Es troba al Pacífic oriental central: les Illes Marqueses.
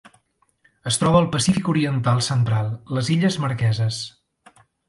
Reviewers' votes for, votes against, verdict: 2, 0, accepted